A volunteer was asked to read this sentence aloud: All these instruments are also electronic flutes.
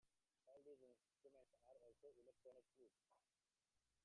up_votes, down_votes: 0, 2